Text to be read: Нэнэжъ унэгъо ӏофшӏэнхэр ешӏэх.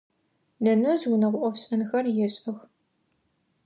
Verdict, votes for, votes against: accepted, 2, 0